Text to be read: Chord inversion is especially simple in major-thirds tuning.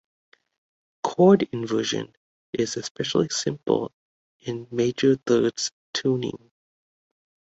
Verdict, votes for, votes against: accepted, 2, 0